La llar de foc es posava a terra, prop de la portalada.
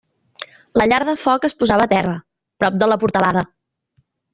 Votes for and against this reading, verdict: 0, 2, rejected